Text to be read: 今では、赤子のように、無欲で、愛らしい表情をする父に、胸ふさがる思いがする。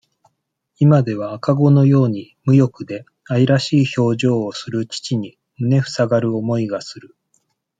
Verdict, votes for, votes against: accepted, 2, 0